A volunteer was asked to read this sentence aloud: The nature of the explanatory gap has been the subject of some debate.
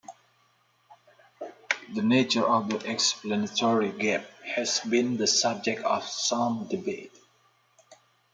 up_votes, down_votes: 2, 0